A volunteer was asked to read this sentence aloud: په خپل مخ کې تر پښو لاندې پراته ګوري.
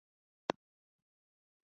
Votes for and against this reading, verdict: 0, 2, rejected